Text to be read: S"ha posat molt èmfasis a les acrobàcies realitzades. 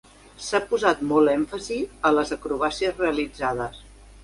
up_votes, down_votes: 2, 0